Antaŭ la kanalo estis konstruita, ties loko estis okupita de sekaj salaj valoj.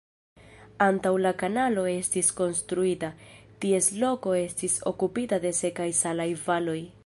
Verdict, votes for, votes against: rejected, 1, 2